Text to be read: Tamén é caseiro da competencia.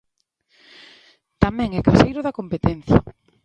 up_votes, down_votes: 2, 1